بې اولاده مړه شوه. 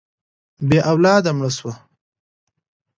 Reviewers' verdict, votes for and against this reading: accepted, 2, 0